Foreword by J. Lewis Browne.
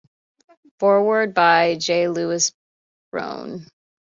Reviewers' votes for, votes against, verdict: 2, 0, accepted